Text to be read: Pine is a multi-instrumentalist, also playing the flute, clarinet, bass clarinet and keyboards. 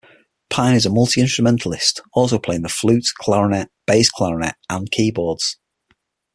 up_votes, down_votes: 6, 0